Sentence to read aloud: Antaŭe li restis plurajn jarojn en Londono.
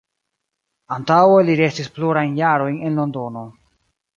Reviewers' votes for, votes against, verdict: 0, 2, rejected